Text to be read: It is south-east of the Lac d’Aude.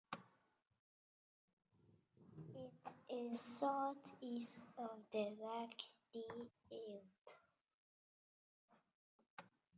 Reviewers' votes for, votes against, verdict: 0, 2, rejected